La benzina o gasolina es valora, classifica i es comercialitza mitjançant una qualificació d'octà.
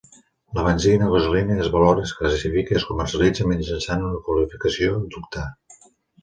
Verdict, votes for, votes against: rejected, 0, 2